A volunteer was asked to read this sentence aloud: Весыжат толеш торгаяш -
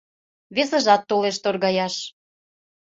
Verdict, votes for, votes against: accepted, 2, 0